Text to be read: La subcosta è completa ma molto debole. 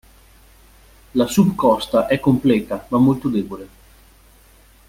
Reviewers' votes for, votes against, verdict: 2, 0, accepted